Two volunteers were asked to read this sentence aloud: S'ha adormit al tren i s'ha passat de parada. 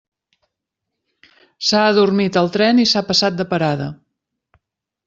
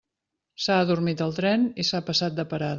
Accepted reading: first